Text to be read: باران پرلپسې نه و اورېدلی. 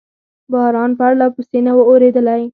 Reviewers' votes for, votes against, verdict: 4, 2, accepted